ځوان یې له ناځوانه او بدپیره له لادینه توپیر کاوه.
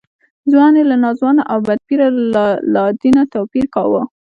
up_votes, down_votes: 0, 2